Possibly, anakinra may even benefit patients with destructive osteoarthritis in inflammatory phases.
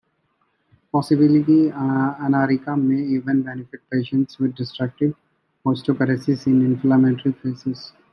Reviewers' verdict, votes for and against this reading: rejected, 1, 2